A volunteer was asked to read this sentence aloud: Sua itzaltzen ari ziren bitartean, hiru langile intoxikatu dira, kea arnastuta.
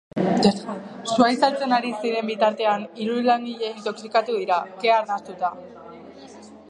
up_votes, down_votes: 2, 0